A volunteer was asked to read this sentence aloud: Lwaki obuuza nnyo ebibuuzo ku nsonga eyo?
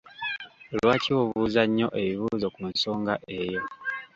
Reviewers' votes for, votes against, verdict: 2, 0, accepted